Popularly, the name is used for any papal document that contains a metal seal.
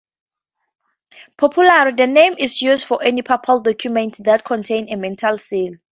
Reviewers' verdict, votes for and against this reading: rejected, 0, 4